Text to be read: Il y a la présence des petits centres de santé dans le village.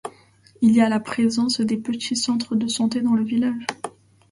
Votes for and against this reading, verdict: 2, 0, accepted